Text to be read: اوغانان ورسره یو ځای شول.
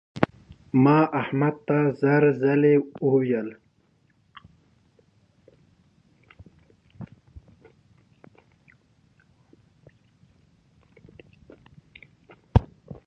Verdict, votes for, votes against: rejected, 0, 2